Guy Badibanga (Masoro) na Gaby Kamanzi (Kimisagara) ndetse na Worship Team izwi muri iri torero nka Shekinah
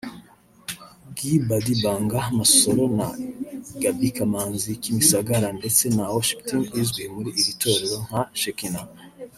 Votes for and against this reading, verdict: 1, 2, rejected